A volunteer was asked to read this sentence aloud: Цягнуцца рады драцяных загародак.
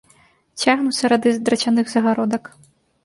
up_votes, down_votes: 0, 2